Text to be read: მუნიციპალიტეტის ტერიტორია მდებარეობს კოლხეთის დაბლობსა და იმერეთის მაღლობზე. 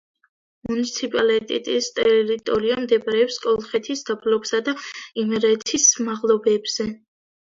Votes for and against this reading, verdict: 1, 2, rejected